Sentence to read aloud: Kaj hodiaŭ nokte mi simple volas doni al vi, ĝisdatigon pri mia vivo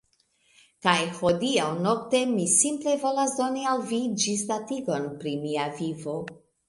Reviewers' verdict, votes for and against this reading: accepted, 2, 0